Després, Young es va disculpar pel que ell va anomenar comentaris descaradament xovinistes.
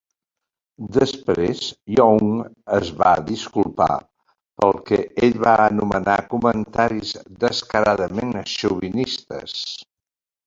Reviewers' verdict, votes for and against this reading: accepted, 2, 1